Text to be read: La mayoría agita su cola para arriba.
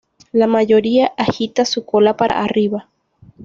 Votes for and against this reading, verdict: 1, 2, rejected